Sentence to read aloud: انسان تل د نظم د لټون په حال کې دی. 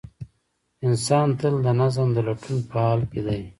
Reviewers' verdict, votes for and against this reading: rejected, 1, 2